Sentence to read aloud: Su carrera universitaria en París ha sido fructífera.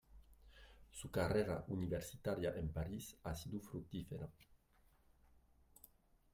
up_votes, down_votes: 0, 2